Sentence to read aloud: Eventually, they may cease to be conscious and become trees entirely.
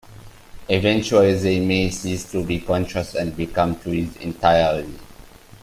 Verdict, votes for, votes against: rejected, 0, 2